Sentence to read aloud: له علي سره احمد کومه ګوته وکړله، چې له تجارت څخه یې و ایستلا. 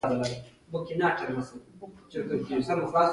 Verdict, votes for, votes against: rejected, 0, 2